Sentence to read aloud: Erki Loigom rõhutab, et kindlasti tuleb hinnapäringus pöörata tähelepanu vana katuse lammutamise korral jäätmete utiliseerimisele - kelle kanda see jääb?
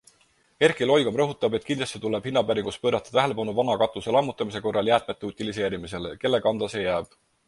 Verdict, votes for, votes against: accepted, 4, 0